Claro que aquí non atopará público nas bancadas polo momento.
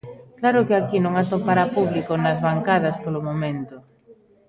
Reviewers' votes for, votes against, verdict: 1, 2, rejected